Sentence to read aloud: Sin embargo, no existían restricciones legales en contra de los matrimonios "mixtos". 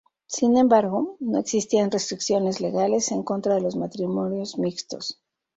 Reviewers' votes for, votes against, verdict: 0, 2, rejected